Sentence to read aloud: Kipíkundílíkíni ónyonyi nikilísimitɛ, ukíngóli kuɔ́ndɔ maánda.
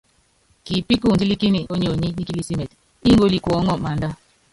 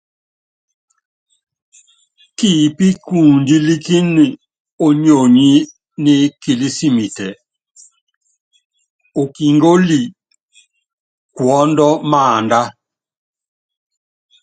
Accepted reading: second